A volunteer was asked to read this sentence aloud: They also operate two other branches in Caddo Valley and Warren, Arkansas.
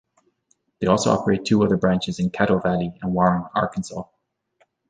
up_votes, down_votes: 2, 0